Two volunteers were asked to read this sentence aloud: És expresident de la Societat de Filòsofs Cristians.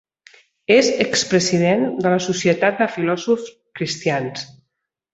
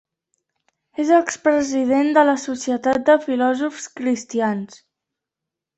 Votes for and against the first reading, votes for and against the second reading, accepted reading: 2, 0, 0, 2, first